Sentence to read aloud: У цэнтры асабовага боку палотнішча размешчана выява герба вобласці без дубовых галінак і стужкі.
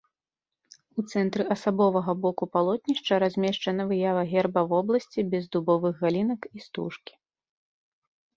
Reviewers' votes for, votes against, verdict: 1, 2, rejected